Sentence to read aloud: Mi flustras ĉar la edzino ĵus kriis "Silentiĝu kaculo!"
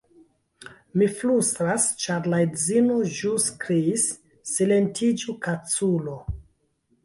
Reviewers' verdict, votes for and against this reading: rejected, 0, 2